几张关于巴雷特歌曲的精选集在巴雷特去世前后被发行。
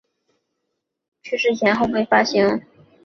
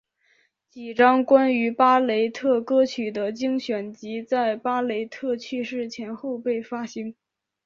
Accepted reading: second